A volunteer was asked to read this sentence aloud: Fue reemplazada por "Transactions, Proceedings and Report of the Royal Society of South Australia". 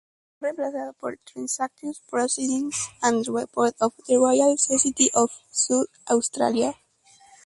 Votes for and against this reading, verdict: 0, 2, rejected